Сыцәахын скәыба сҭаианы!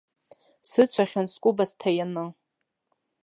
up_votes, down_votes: 1, 2